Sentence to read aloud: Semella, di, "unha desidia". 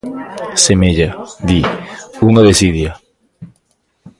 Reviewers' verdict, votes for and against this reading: rejected, 1, 2